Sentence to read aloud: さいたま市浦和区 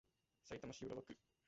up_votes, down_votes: 1, 2